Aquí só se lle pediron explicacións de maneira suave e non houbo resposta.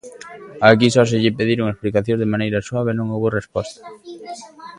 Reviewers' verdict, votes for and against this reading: accepted, 2, 0